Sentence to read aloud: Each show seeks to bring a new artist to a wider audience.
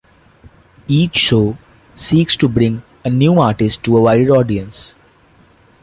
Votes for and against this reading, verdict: 2, 1, accepted